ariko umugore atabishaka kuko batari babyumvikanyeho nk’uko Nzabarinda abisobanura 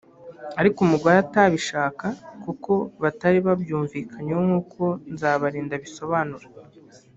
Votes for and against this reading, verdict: 1, 2, rejected